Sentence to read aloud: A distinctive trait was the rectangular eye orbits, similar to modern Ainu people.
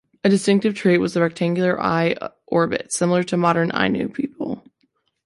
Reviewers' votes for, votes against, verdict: 2, 3, rejected